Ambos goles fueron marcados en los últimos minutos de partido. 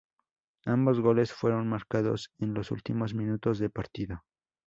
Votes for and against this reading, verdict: 2, 0, accepted